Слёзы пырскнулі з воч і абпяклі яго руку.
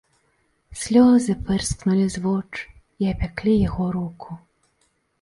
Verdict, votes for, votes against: accepted, 2, 0